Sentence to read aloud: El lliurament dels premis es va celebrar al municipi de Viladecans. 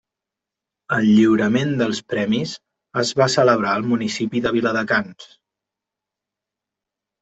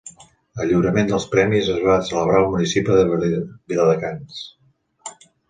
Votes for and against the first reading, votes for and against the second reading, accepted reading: 3, 0, 1, 3, first